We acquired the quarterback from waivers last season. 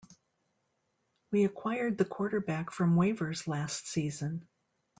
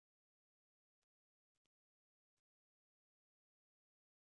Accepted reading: first